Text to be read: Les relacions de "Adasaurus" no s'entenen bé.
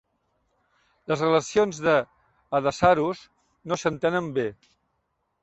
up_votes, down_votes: 0, 2